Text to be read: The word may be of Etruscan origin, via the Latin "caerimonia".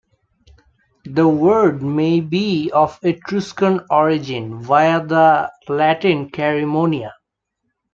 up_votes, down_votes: 1, 2